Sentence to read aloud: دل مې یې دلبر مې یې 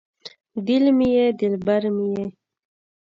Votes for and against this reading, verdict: 2, 0, accepted